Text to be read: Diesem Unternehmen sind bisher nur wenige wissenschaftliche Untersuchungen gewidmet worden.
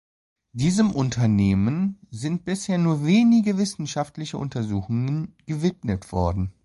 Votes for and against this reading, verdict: 2, 0, accepted